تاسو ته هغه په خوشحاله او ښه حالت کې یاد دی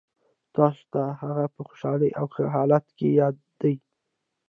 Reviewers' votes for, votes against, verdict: 0, 2, rejected